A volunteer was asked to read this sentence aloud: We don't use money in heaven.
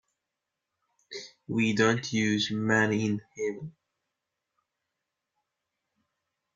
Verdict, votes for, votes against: accepted, 2, 1